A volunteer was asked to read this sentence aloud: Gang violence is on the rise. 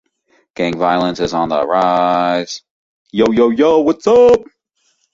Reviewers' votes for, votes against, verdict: 1, 2, rejected